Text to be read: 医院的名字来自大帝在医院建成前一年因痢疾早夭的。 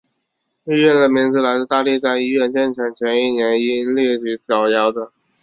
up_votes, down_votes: 0, 2